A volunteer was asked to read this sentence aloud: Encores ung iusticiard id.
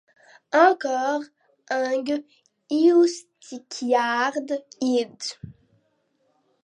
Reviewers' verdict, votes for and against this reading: accepted, 2, 0